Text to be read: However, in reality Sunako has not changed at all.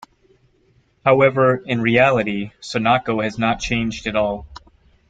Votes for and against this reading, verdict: 2, 0, accepted